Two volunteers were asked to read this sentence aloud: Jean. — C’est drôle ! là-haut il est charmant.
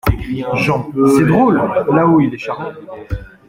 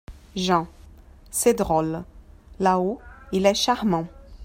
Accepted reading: second